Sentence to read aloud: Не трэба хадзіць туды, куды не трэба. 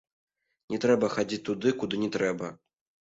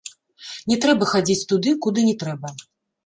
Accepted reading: first